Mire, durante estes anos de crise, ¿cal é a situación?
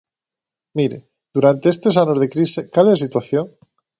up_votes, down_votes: 2, 0